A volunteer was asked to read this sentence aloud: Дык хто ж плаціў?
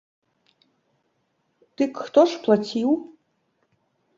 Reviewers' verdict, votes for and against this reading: accepted, 2, 0